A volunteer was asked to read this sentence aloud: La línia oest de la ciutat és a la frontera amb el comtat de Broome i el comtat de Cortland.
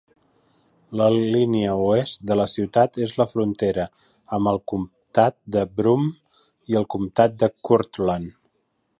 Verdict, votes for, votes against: rejected, 0, 3